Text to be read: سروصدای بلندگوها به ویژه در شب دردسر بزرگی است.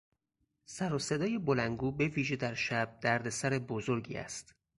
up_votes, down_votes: 0, 4